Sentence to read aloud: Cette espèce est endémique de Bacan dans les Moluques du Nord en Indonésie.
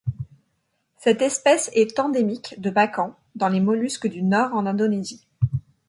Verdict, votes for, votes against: rejected, 1, 2